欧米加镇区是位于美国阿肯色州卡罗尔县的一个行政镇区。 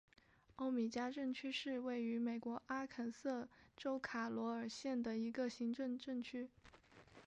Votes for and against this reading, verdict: 1, 2, rejected